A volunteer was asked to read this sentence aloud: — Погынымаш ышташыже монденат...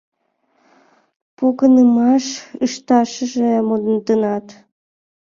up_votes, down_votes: 0, 2